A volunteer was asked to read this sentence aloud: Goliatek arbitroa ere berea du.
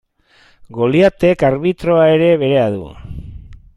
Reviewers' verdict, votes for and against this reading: rejected, 1, 2